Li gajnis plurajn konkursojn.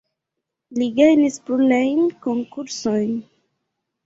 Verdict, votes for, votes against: rejected, 1, 2